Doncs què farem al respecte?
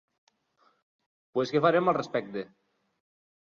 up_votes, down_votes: 0, 2